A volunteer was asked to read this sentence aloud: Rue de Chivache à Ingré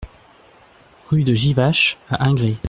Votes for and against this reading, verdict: 0, 2, rejected